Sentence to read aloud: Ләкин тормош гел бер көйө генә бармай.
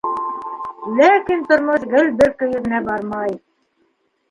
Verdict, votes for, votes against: rejected, 0, 2